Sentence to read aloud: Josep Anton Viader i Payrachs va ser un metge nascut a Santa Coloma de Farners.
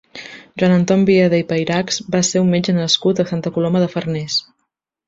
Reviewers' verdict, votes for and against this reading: rejected, 0, 2